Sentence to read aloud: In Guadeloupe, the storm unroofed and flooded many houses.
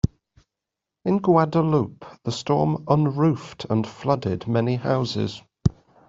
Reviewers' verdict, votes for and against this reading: accepted, 2, 0